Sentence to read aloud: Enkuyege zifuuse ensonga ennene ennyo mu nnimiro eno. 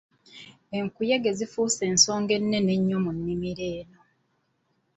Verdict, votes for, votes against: accepted, 3, 0